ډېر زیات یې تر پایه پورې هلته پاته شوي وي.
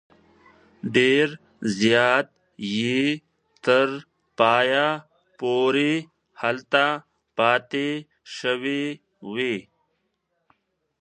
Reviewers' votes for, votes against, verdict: 0, 2, rejected